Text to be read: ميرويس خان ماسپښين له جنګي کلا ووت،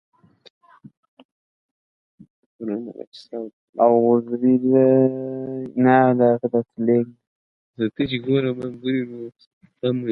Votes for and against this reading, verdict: 0, 2, rejected